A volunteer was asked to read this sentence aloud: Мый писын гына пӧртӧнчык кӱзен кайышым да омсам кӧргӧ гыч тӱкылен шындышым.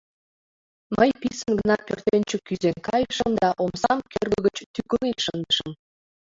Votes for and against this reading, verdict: 2, 0, accepted